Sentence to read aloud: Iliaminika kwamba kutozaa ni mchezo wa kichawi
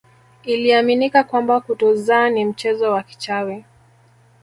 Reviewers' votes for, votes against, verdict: 1, 2, rejected